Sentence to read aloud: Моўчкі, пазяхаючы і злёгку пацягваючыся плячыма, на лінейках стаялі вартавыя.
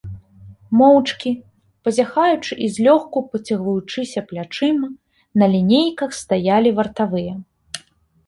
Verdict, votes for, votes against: rejected, 0, 2